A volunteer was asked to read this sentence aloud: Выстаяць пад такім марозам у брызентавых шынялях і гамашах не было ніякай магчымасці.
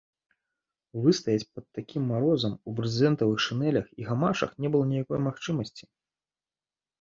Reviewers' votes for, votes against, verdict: 2, 3, rejected